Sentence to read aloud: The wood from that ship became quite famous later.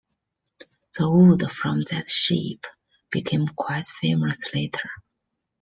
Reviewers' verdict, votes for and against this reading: accepted, 2, 0